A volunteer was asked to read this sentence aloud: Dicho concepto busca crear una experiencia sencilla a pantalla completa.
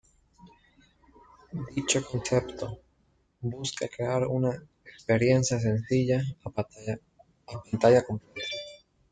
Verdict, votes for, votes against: rejected, 0, 2